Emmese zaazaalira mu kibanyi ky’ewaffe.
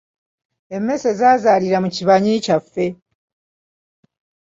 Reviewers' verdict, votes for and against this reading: accepted, 2, 1